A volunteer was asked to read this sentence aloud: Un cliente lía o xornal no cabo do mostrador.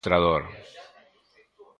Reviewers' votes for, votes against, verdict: 0, 2, rejected